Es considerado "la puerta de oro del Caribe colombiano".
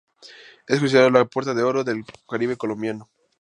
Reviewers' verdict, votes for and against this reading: rejected, 0, 2